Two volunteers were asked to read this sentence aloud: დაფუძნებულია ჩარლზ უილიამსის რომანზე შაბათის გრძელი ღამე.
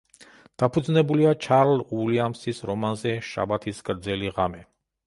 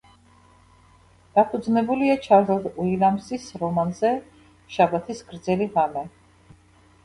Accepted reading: second